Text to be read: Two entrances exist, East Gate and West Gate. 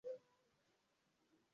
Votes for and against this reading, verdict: 1, 2, rejected